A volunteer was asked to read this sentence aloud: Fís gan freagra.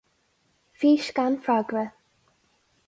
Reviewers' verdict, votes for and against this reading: accepted, 4, 0